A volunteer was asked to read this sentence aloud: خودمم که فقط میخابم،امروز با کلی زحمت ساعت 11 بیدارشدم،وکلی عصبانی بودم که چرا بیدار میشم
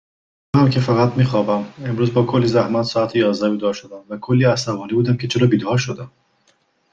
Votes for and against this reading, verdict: 0, 2, rejected